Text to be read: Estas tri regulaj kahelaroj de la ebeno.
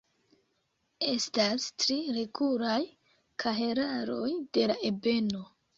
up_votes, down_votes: 2, 3